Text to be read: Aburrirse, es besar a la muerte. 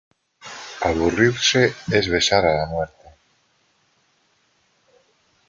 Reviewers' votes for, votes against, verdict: 1, 2, rejected